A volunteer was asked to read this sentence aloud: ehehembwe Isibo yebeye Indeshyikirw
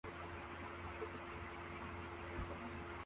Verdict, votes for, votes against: rejected, 0, 2